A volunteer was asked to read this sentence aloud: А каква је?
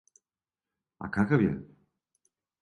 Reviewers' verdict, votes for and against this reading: rejected, 0, 2